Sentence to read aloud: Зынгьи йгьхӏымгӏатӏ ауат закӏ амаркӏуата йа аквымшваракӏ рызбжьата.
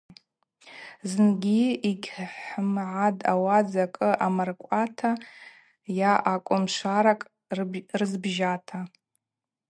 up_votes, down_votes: 2, 2